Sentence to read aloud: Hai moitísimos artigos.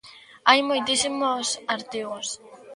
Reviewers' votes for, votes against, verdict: 2, 1, accepted